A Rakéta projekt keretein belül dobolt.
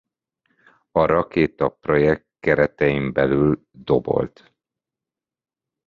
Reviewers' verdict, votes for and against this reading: accepted, 2, 0